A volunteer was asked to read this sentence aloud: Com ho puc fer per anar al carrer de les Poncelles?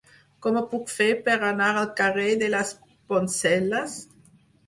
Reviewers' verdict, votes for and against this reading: rejected, 2, 4